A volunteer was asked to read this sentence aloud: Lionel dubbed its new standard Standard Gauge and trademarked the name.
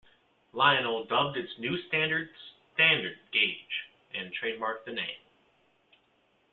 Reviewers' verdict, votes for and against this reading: rejected, 1, 2